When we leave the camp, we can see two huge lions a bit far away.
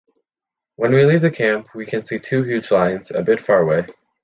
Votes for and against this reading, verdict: 2, 0, accepted